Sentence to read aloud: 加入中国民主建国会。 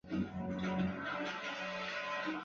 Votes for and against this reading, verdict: 1, 3, rejected